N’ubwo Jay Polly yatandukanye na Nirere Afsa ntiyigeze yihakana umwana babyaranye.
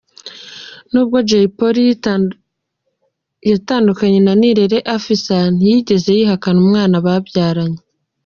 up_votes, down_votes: 1, 2